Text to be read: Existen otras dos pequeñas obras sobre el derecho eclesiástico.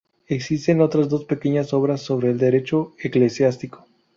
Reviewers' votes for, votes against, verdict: 0, 2, rejected